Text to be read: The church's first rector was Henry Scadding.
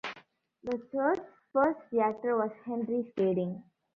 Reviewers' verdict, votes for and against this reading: rejected, 1, 2